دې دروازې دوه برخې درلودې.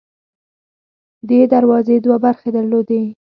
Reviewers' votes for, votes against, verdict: 2, 4, rejected